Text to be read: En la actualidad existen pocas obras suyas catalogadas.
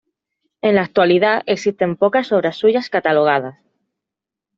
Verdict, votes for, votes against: accepted, 2, 0